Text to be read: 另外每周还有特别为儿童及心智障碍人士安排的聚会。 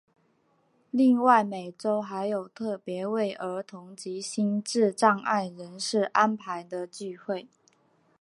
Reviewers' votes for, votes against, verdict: 7, 0, accepted